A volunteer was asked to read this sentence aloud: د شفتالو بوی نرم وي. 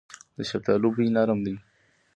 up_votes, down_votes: 2, 0